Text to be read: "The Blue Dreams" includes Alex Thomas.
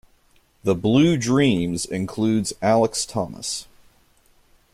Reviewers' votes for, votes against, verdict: 2, 0, accepted